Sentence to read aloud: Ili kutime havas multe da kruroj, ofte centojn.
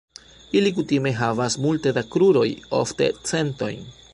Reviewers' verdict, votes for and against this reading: accepted, 2, 0